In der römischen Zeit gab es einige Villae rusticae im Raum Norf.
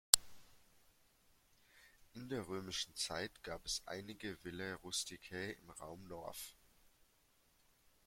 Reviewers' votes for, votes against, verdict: 2, 0, accepted